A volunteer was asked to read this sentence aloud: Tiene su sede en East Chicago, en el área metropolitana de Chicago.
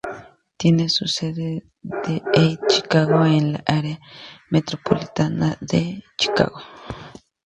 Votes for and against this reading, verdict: 2, 0, accepted